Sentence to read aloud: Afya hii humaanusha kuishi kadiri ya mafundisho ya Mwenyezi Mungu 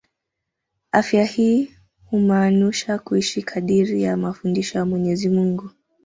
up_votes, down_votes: 1, 2